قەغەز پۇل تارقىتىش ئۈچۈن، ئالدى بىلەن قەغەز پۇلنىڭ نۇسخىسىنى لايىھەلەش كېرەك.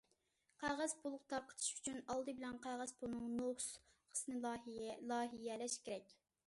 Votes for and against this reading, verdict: 0, 2, rejected